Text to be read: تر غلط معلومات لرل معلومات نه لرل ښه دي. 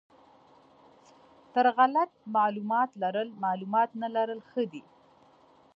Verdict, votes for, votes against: accepted, 2, 0